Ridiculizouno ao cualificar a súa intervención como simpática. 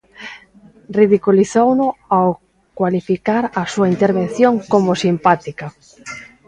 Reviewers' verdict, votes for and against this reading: accepted, 2, 0